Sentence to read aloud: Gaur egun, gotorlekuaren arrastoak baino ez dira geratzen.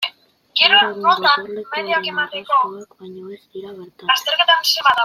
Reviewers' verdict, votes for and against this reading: rejected, 0, 2